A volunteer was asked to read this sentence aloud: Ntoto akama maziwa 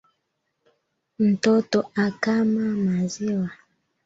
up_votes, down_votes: 2, 0